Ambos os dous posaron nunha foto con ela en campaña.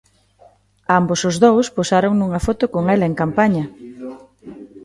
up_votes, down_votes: 1, 2